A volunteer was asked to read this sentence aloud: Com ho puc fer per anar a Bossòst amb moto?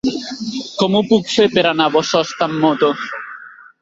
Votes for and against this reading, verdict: 1, 2, rejected